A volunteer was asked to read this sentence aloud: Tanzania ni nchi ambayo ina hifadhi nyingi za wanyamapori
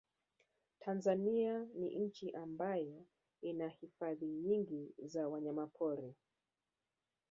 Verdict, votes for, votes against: rejected, 1, 2